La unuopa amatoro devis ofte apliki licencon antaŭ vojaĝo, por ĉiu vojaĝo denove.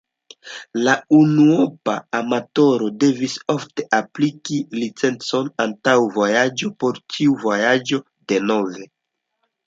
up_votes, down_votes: 2, 1